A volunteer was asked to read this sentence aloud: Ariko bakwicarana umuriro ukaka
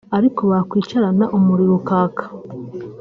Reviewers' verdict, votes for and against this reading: accepted, 3, 0